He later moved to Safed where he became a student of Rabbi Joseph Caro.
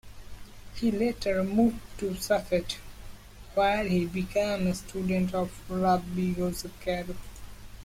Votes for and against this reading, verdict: 1, 2, rejected